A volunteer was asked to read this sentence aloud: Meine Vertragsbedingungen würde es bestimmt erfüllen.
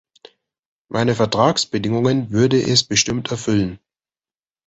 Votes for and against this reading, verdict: 2, 0, accepted